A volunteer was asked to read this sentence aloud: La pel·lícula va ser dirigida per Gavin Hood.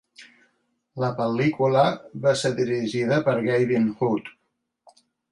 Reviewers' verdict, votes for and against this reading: accepted, 2, 0